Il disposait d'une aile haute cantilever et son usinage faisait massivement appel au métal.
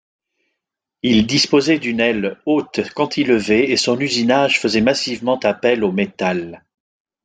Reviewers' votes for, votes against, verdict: 2, 0, accepted